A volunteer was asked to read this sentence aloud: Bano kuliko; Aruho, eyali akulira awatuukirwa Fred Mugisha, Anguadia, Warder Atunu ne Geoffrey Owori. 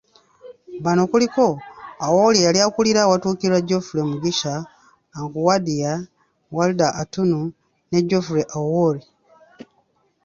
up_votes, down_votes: 1, 2